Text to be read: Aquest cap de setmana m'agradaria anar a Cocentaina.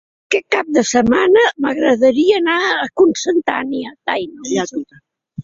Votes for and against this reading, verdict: 2, 3, rejected